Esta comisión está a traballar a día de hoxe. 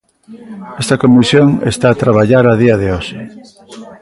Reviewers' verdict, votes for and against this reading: accepted, 2, 1